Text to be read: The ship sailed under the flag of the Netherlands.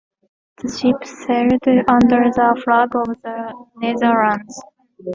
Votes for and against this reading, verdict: 2, 0, accepted